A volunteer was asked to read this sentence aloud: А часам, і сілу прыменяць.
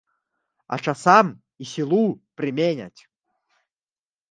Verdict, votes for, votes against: rejected, 1, 2